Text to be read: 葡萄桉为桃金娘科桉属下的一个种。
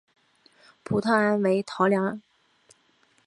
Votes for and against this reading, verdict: 1, 3, rejected